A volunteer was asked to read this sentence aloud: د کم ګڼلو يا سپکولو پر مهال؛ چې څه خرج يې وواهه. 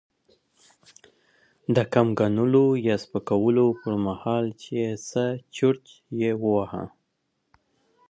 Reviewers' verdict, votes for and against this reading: accepted, 2, 0